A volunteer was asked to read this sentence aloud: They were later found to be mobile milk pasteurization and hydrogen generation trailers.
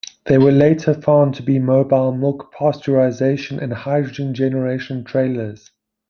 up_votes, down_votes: 2, 0